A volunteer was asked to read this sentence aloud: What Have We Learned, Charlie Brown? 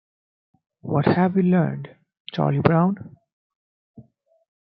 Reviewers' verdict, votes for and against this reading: accepted, 2, 0